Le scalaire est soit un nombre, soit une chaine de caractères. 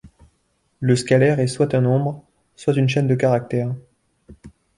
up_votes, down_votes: 1, 2